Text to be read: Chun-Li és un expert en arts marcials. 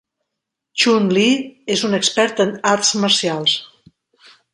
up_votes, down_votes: 3, 0